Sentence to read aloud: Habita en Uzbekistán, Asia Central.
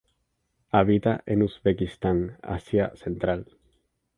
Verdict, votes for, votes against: accepted, 2, 0